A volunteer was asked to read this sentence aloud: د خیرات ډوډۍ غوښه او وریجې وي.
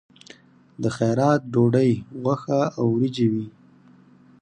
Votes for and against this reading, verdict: 4, 0, accepted